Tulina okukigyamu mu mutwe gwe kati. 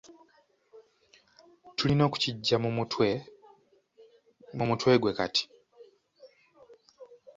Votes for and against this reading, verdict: 1, 2, rejected